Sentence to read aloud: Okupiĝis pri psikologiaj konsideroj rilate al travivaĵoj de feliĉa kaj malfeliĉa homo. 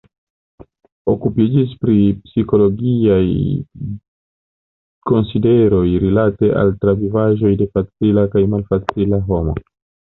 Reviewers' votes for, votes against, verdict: 1, 2, rejected